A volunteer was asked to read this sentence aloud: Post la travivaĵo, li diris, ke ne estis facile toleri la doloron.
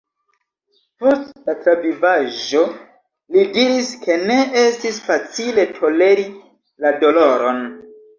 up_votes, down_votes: 1, 2